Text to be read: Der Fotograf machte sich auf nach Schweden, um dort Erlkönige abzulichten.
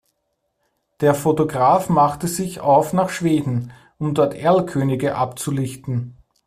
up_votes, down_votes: 2, 0